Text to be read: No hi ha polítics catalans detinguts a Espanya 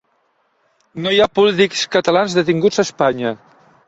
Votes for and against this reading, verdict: 0, 2, rejected